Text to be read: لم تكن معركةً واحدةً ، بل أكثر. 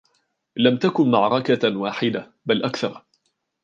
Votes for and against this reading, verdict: 2, 0, accepted